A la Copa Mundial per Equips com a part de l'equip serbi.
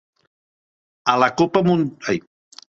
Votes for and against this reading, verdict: 1, 2, rejected